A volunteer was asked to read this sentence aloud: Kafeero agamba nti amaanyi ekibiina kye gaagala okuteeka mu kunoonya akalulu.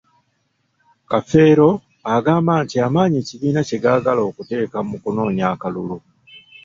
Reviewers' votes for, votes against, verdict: 2, 0, accepted